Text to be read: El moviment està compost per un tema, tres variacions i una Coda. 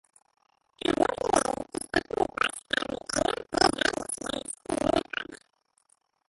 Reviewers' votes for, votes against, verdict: 0, 2, rejected